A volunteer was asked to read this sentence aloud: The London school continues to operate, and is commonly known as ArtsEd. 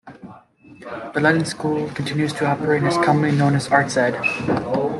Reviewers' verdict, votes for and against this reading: accepted, 2, 0